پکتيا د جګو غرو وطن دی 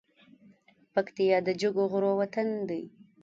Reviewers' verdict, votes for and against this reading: accepted, 2, 0